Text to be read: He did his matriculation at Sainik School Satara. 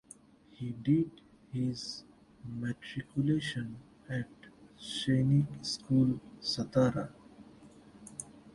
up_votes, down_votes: 0, 2